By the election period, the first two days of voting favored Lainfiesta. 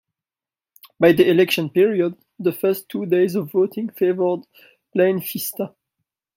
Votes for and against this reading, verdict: 0, 2, rejected